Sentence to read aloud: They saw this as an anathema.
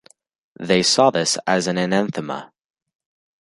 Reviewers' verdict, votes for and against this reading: rejected, 0, 2